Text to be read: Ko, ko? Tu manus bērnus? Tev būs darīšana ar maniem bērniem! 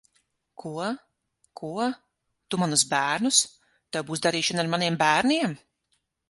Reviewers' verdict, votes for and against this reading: rejected, 3, 6